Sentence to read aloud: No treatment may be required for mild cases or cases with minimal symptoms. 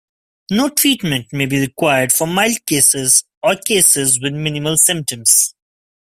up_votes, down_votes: 2, 0